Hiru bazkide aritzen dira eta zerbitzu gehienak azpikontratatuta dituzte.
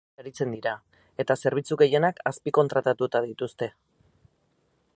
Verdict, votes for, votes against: rejected, 0, 6